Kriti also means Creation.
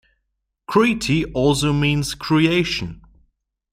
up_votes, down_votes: 2, 0